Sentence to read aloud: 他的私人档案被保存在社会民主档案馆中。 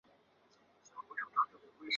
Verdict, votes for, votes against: rejected, 0, 2